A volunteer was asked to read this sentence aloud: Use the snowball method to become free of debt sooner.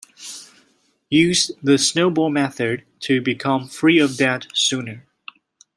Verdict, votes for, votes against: accepted, 2, 0